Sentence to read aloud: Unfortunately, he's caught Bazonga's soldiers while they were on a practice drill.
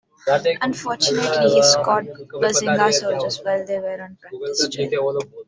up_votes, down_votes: 0, 2